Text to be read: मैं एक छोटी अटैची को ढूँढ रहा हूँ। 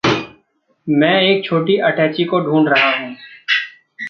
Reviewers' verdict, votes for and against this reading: rejected, 0, 2